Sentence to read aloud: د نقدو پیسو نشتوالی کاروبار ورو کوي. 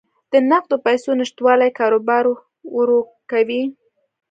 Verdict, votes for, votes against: accepted, 2, 1